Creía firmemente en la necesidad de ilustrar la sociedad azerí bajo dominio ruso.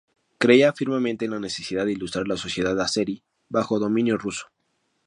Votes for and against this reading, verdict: 2, 0, accepted